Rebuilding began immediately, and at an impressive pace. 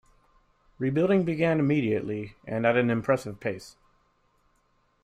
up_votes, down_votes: 3, 0